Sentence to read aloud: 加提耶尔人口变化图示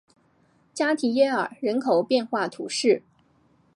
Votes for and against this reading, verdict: 2, 0, accepted